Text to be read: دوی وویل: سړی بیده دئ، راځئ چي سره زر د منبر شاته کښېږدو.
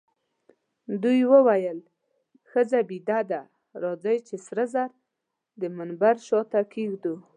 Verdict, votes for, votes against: rejected, 0, 2